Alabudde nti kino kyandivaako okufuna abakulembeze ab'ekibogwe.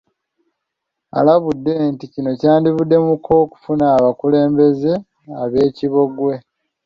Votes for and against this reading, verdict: 0, 2, rejected